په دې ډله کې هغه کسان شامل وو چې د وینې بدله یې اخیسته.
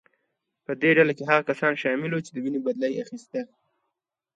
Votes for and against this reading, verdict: 2, 0, accepted